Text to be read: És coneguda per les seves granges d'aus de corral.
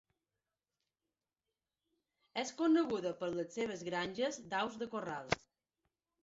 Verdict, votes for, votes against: accepted, 3, 1